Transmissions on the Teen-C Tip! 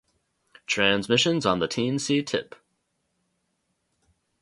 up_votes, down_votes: 2, 0